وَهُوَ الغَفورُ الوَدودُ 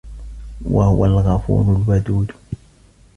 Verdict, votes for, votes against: accepted, 2, 0